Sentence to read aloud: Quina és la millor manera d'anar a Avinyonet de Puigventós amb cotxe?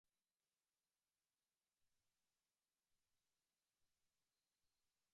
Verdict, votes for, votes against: rejected, 0, 2